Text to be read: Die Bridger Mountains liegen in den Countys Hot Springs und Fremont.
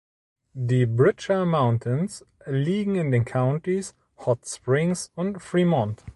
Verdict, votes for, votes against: accepted, 2, 0